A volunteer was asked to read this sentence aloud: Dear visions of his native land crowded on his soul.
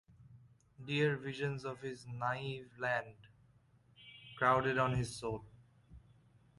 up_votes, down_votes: 1, 2